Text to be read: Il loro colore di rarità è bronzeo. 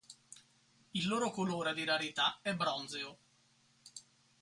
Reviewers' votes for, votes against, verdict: 2, 2, rejected